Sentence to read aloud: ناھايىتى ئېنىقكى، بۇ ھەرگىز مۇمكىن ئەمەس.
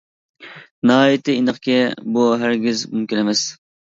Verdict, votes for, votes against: accepted, 2, 0